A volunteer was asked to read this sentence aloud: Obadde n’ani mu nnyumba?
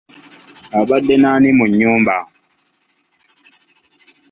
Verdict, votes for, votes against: rejected, 1, 2